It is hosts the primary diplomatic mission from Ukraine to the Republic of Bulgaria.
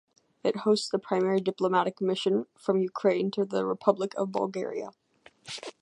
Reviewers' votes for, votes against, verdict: 2, 0, accepted